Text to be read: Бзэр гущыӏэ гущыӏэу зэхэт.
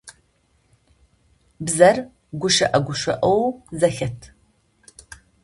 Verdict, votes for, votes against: accepted, 2, 0